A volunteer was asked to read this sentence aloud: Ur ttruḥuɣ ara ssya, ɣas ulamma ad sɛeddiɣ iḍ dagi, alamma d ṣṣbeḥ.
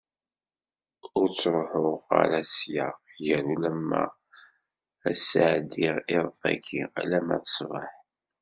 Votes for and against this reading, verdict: 1, 2, rejected